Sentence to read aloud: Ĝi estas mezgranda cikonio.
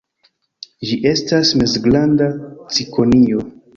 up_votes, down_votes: 2, 0